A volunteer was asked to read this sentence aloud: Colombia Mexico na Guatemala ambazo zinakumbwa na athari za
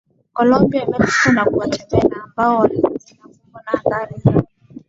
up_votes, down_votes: 0, 2